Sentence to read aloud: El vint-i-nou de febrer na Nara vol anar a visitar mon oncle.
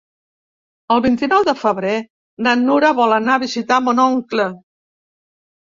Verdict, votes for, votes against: rejected, 1, 2